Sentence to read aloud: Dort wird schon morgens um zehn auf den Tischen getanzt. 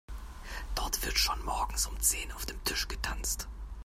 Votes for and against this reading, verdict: 1, 2, rejected